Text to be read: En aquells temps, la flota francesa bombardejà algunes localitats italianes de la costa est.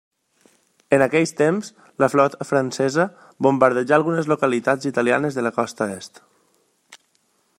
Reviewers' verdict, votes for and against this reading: accepted, 2, 0